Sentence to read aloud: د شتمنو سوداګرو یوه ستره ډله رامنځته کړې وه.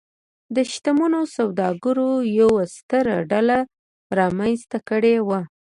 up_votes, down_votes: 2, 0